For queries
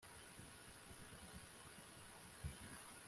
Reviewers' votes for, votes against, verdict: 0, 2, rejected